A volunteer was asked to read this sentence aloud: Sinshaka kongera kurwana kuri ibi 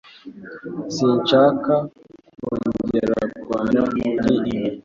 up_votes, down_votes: 2, 0